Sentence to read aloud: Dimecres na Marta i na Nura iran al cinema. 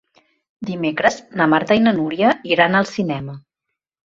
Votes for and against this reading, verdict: 0, 2, rejected